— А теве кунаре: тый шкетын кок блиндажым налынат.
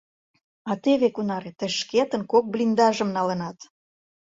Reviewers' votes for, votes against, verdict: 2, 0, accepted